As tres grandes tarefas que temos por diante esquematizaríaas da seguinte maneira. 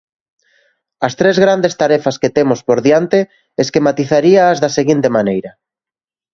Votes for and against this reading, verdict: 2, 0, accepted